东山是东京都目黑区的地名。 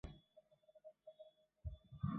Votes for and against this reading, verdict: 0, 2, rejected